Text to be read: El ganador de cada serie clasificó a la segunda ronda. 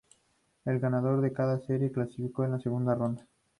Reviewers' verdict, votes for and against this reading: accepted, 4, 0